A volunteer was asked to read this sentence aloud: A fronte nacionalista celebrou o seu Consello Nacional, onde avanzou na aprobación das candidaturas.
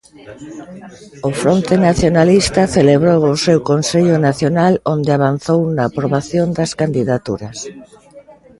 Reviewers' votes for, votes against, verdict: 0, 2, rejected